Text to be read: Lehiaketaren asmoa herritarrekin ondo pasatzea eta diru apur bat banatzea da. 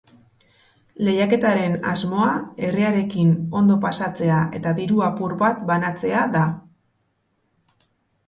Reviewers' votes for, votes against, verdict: 1, 2, rejected